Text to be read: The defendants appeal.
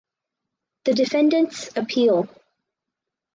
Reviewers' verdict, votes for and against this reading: accepted, 4, 0